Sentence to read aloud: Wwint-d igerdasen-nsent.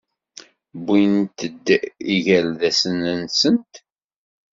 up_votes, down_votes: 2, 0